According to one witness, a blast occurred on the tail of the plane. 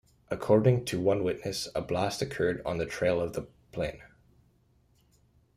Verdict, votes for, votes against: rejected, 0, 2